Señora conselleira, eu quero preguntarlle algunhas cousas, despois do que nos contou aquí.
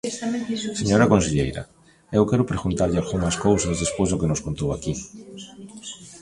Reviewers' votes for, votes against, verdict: 2, 0, accepted